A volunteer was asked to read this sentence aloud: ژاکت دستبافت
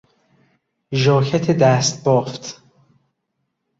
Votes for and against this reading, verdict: 2, 0, accepted